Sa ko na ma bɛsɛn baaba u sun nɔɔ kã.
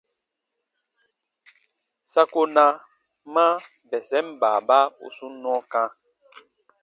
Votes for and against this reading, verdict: 2, 0, accepted